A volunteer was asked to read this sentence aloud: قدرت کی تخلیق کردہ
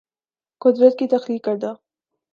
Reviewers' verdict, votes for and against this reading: accepted, 2, 0